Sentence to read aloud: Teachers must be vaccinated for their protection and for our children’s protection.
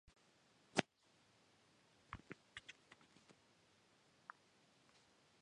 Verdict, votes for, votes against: rejected, 0, 2